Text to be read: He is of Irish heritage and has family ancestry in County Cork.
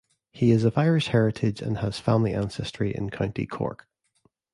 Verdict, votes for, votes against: accepted, 2, 0